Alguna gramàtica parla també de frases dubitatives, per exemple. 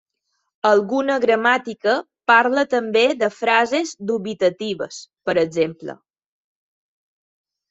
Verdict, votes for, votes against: accepted, 3, 0